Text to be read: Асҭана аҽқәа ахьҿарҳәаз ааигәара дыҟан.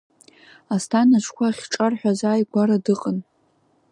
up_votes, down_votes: 1, 2